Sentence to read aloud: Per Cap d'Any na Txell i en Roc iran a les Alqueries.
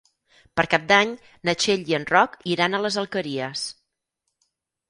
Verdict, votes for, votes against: accepted, 6, 0